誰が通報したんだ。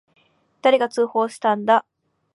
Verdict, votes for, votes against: accepted, 2, 0